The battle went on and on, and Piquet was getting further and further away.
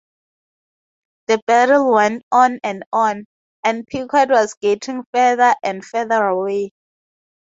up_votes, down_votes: 0, 2